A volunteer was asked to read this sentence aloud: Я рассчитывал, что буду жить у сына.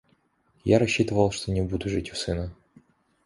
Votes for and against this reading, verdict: 0, 2, rejected